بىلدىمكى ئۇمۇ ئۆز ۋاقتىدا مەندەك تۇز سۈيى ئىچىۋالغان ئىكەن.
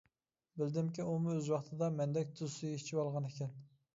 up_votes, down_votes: 2, 0